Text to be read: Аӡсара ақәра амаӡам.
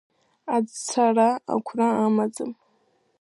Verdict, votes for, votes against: rejected, 0, 3